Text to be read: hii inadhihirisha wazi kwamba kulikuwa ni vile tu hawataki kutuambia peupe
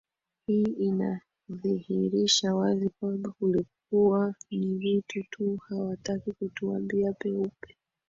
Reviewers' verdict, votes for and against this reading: accepted, 7, 4